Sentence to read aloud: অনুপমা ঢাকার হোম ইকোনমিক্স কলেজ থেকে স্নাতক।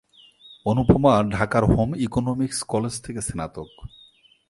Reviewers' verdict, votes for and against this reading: accepted, 4, 0